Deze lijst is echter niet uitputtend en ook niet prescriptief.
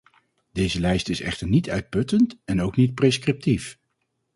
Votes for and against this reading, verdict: 4, 0, accepted